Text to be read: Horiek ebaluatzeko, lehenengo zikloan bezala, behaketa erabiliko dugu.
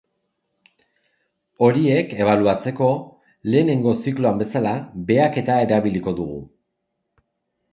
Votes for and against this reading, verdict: 2, 0, accepted